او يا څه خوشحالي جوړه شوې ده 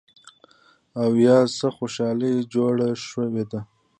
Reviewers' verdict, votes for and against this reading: rejected, 1, 2